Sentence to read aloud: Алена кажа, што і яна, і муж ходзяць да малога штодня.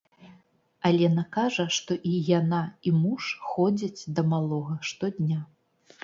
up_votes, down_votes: 2, 0